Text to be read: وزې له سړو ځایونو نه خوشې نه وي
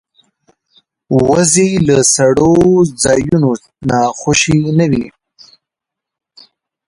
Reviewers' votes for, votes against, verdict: 1, 2, rejected